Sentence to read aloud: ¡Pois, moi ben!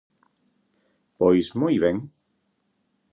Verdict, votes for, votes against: accepted, 2, 0